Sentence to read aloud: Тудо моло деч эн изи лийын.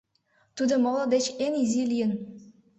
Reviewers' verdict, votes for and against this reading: accepted, 2, 0